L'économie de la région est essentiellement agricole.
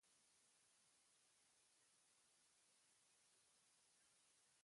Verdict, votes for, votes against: rejected, 0, 2